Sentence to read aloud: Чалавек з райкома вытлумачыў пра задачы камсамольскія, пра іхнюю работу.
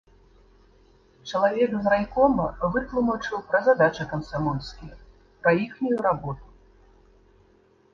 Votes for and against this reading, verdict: 3, 0, accepted